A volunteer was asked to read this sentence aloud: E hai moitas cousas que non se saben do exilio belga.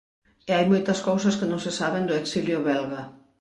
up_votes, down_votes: 0, 4